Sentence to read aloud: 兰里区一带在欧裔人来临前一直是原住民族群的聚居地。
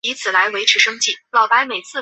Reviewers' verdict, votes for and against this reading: rejected, 0, 2